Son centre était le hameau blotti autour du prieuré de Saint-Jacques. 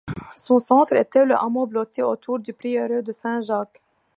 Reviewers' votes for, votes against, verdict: 2, 0, accepted